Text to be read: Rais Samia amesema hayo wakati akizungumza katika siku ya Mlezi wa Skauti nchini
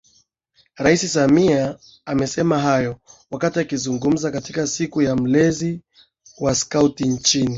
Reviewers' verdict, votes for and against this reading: accepted, 8, 0